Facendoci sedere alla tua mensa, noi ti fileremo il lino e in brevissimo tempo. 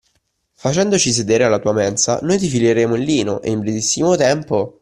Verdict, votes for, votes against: accepted, 2, 1